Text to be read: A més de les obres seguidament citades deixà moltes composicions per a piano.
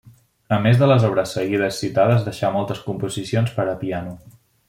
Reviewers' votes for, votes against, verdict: 1, 2, rejected